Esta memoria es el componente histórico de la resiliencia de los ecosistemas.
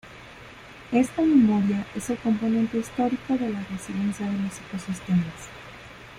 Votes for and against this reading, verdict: 2, 0, accepted